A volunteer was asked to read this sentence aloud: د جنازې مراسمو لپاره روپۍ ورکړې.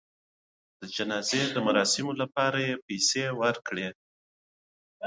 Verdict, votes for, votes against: rejected, 1, 2